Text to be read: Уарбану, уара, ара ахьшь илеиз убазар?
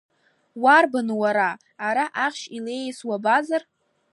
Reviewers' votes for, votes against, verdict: 1, 2, rejected